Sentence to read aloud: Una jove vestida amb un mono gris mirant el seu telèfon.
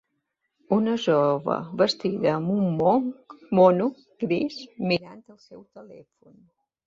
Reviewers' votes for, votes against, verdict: 0, 2, rejected